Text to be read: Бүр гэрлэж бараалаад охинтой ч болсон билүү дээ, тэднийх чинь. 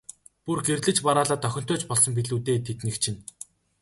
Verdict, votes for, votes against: accepted, 2, 0